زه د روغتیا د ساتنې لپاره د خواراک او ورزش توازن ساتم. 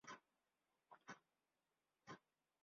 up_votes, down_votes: 0, 2